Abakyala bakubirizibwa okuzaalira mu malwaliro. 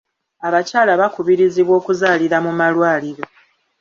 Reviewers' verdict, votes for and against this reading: accepted, 2, 0